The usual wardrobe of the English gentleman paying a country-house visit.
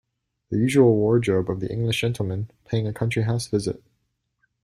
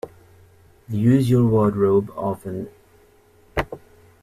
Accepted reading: first